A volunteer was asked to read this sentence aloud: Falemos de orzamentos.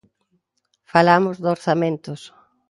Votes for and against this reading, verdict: 0, 2, rejected